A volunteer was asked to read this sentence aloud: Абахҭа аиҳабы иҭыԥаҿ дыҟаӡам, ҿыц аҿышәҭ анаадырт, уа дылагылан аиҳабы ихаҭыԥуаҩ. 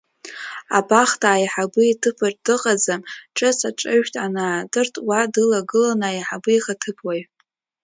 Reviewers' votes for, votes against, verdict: 0, 2, rejected